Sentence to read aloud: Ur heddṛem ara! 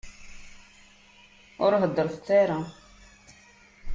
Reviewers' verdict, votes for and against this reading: rejected, 0, 2